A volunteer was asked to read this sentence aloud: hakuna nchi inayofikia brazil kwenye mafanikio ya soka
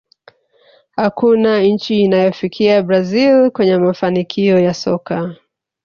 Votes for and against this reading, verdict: 2, 0, accepted